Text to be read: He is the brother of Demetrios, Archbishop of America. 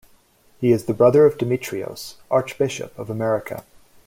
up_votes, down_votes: 2, 0